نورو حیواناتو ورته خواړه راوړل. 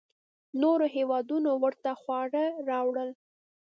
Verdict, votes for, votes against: rejected, 1, 2